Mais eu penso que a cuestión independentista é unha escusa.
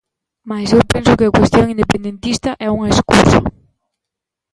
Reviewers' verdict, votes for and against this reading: accepted, 2, 0